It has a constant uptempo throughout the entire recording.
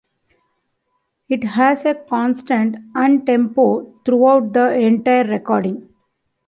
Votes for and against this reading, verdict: 0, 2, rejected